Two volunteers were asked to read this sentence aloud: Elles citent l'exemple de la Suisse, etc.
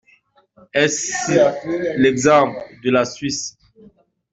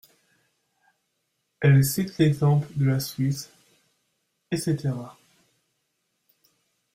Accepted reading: second